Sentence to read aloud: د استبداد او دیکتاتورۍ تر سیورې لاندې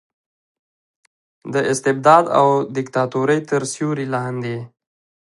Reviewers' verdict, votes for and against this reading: accepted, 2, 0